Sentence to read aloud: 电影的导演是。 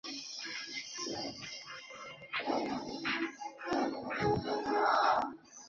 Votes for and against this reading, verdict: 0, 4, rejected